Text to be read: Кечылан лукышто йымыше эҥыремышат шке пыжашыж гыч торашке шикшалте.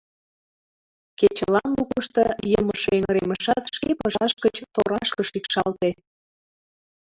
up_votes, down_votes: 2, 1